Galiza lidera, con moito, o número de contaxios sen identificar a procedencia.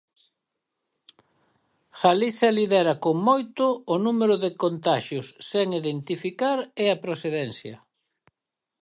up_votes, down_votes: 0, 4